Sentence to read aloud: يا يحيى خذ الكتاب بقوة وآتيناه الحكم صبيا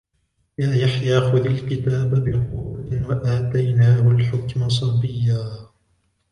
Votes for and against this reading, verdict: 0, 2, rejected